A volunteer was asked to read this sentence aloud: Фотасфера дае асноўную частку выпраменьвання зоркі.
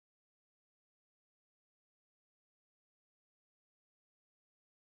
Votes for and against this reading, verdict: 0, 2, rejected